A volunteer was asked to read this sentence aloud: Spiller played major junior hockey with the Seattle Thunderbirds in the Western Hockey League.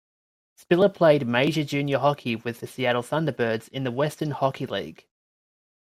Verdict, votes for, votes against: rejected, 1, 2